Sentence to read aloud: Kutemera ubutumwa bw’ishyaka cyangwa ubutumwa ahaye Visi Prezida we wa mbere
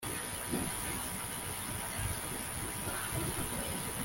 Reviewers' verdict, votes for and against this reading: rejected, 1, 2